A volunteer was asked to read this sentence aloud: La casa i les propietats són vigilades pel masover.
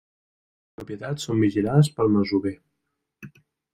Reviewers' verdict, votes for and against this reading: rejected, 1, 2